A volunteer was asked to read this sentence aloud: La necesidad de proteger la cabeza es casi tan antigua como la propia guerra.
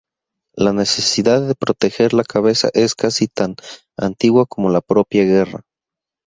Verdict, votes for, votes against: accepted, 6, 0